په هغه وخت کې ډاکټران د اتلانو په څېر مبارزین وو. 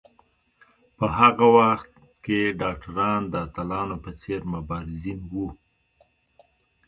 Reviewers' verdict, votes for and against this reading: accepted, 2, 0